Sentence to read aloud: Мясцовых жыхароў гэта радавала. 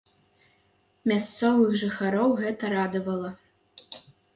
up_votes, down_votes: 2, 0